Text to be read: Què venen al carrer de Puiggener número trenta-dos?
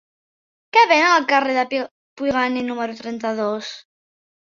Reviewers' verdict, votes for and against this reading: rejected, 1, 2